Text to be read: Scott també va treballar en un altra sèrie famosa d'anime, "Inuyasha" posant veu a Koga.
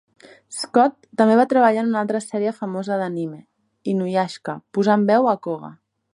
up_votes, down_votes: 1, 2